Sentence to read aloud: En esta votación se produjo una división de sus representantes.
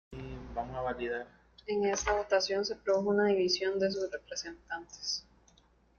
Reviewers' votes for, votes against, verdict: 0, 2, rejected